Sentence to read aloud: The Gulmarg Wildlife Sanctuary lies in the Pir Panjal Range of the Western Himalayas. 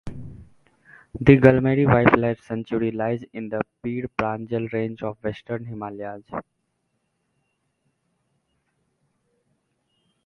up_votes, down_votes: 2, 1